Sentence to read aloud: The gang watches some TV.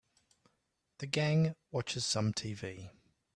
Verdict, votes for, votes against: accepted, 2, 0